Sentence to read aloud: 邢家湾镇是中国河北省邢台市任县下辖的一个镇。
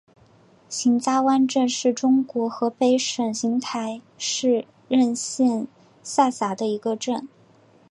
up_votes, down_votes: 4, 0